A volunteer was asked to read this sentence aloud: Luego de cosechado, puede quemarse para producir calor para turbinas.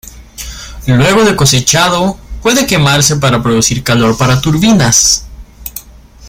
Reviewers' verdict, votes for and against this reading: accepted, 2, 0